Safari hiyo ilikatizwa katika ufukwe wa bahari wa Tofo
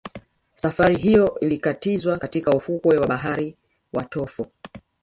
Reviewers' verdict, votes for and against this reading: rejected, 1, 2